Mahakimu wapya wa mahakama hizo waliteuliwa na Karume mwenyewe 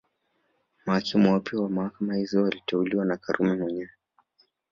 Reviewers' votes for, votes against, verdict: 2, 3, rejected